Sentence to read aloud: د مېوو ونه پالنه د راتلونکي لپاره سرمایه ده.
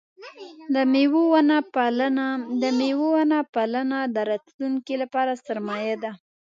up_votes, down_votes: 0, 2